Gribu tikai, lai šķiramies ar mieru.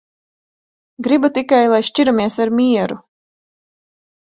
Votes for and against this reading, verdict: 3, 0, accepted